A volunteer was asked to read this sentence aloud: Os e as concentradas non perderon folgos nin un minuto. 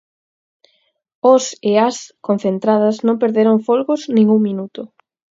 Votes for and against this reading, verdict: 4, 0, accepted